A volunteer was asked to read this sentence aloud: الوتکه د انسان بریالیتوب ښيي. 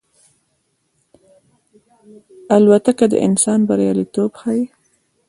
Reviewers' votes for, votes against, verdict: 2, 0, accepted